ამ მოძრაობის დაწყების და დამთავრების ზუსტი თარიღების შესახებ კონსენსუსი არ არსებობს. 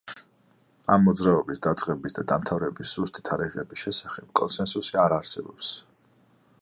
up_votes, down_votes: 2, 0